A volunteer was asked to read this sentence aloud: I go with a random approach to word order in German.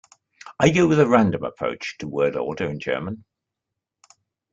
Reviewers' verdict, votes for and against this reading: accepted, 2, 0